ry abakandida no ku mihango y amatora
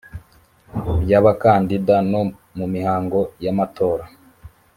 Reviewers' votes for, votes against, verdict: 1, 2, rejected